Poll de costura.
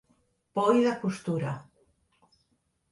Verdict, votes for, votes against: accepted, 2, 0